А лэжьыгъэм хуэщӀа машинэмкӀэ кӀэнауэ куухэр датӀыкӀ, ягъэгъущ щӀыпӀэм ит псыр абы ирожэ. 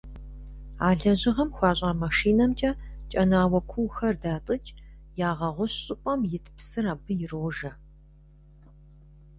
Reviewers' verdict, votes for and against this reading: accepted, 2, 0